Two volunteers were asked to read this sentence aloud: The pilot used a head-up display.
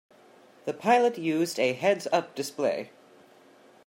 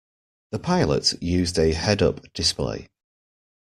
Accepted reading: second